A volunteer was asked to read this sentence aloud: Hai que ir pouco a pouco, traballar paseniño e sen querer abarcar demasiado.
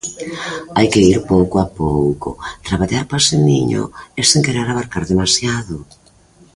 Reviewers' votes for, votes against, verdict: 2, 0, accepted